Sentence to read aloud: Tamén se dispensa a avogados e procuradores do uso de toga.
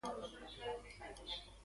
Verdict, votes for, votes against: rejected, 0, 2